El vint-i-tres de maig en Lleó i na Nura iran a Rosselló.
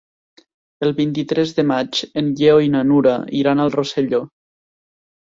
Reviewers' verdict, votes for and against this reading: rejected, 0, 2